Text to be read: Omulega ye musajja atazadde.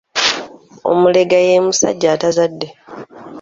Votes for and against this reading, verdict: 2, 0, accepted